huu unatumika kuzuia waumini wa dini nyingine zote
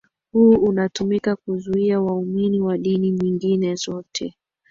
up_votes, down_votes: 2, 0